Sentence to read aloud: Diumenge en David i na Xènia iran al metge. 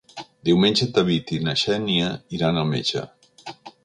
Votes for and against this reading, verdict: 2, 0, accepted